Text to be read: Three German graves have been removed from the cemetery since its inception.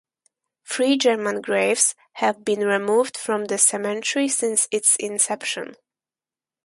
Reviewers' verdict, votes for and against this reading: rejected, 0, 4